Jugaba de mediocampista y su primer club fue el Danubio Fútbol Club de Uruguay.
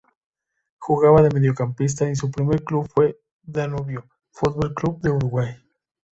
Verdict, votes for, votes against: accepted, 2, 0